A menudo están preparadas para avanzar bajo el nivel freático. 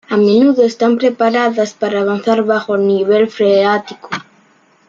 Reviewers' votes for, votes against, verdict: 0, 2, rejected